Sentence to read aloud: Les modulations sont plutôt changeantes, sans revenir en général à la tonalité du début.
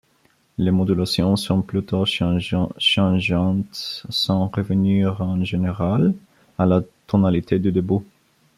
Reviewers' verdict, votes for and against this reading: rejected, 1, 2